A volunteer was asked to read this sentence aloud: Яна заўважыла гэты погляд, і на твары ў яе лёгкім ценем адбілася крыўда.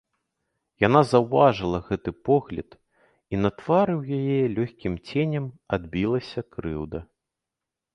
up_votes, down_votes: 2, 0